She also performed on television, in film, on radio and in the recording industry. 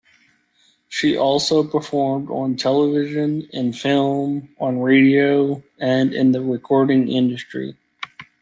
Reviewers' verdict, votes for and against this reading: accepted, 2, 0